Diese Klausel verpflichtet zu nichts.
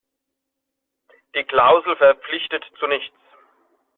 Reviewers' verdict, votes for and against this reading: rejected, 1, 2